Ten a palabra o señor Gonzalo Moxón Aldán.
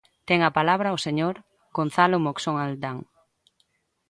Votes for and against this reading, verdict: 1, 2, rejected